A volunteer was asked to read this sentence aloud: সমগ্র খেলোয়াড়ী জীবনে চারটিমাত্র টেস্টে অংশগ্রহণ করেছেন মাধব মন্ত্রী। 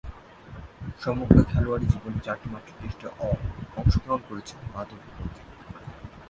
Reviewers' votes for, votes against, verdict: 0, 3, rejected